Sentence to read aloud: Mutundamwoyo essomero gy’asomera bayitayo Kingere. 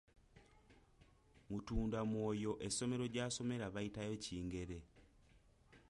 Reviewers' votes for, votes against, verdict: 2, 1, accepted